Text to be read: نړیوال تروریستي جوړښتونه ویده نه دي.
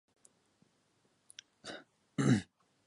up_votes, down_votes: 0, 2